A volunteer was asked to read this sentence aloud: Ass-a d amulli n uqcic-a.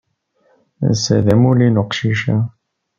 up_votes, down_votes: 2, 0